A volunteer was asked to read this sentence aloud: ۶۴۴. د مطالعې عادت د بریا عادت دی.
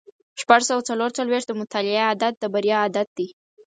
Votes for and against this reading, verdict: 0, 2, rejected